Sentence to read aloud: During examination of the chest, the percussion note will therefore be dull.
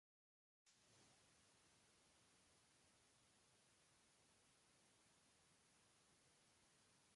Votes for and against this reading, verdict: 0, 3, rejected